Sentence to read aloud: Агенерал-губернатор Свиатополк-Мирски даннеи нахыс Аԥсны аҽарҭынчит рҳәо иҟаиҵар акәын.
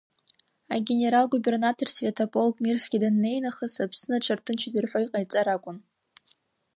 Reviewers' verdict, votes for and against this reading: rejected, 1, 2